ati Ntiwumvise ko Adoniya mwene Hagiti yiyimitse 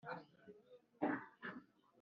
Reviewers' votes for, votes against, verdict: 0, 2, rejected